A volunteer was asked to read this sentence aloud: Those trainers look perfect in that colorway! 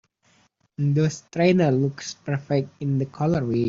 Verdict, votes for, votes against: rejected, 0, 3